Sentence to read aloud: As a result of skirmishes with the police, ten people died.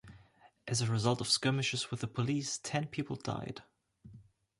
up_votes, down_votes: 2, 0